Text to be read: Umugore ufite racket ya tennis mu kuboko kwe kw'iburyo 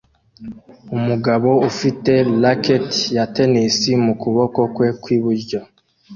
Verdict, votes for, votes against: rejected, 1, 2